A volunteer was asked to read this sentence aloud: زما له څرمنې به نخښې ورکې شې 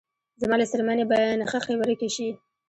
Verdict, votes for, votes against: accepted, 2, 1